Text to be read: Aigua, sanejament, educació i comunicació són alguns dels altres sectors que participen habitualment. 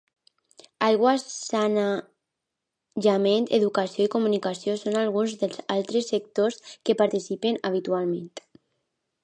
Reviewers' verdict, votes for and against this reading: rejected, 0, 2